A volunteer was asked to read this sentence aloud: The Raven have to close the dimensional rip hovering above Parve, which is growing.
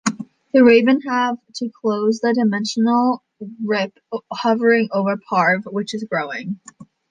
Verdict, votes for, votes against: rejected, 1, 2